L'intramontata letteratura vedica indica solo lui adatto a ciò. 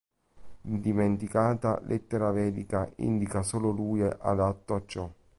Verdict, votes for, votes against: rejected, 0, 2